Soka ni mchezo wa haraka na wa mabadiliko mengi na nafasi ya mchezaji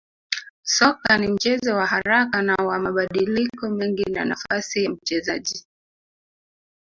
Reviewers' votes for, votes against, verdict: 0, 2, rejected